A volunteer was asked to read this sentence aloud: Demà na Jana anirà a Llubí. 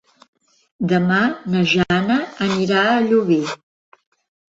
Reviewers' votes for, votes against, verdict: 1, 2, rejected